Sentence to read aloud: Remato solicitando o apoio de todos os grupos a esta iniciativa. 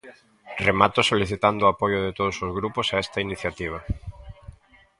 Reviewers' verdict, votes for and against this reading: rejected, 0, 2